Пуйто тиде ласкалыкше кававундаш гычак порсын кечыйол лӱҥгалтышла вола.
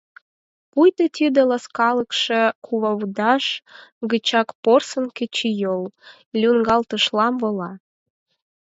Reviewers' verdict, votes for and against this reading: rejected, 0, 6